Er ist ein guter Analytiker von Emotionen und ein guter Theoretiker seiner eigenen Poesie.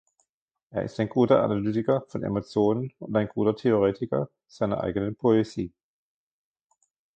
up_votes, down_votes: 2, 1